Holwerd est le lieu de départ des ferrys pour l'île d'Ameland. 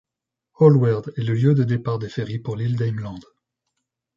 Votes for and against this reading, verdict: 2, 0, accepted